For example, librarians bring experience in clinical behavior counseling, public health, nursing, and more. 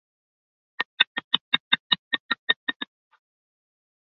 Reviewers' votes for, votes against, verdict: 0, 2, rejected